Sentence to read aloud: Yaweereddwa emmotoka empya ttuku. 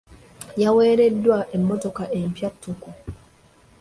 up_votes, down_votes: 2, 0